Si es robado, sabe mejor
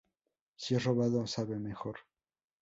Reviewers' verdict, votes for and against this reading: rejected, 0, 2